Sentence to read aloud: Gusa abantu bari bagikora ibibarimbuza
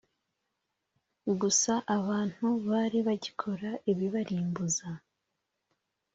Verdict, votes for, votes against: accepted, 2, 0